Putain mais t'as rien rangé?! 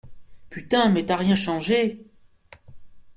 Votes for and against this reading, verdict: 0, 3, rejected